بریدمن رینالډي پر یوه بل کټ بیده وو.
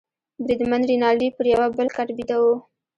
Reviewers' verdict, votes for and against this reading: rejected, 0, 2